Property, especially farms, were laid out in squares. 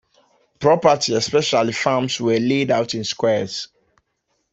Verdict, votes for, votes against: accepted, 2, 0